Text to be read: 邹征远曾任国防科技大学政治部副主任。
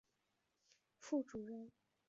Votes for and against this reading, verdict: 3, 5, rejected